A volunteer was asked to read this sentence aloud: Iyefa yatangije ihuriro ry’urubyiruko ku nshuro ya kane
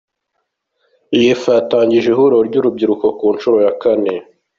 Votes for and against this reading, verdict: 2, 0, accepted